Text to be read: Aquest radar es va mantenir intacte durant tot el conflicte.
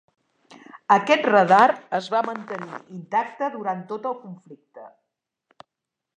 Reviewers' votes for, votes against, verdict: 1, 2, rejected